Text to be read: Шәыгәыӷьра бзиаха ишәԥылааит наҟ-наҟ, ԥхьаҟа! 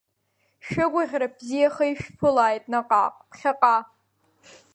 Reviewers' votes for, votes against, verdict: 2, 0, accepted